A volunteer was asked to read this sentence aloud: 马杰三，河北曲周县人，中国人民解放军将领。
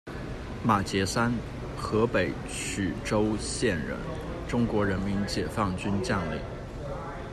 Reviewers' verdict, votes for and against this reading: accepted, 2, 0